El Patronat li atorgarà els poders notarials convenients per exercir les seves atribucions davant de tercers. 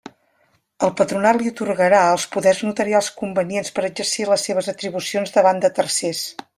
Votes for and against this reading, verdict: 2, 0, accepted